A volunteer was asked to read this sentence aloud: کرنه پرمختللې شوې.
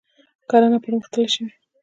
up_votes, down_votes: 2, 0